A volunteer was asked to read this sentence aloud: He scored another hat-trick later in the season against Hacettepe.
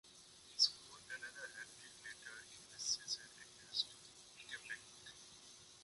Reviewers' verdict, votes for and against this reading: rejected, 0, 2